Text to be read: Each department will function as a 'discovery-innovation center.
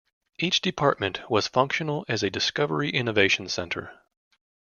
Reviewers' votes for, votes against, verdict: 0, 2, rejected